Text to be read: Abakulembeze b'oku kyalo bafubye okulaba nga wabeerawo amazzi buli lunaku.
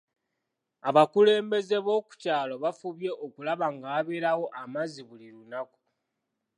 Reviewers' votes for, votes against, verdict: 2, 0, accepted